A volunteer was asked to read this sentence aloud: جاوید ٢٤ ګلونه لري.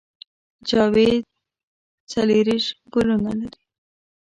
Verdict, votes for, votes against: rejected, 0, 2